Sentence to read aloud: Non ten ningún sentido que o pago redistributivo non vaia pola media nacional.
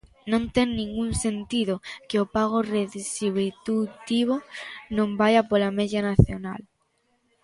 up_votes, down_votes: 0, 2